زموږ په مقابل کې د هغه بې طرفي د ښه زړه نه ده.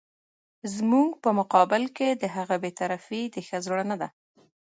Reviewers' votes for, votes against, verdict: 1, 2, rejected